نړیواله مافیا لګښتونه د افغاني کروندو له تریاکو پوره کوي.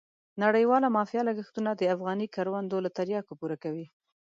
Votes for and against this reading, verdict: 1, 2, rejected